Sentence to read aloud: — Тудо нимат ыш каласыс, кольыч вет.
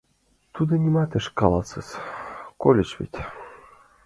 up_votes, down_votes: 2, 0